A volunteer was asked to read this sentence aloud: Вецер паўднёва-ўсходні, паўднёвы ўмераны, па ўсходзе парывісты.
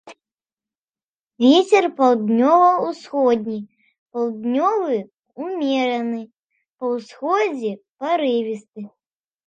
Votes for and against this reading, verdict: 2, 0, accepted